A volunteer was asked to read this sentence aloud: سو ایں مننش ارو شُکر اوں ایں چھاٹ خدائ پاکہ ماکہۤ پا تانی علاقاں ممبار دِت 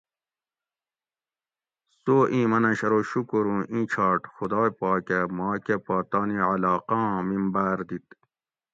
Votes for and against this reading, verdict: 2, 0, accepted